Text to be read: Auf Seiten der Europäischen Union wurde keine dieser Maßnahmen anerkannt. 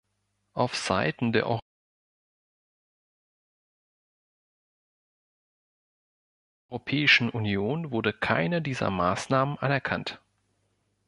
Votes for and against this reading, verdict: 1, 3, rejected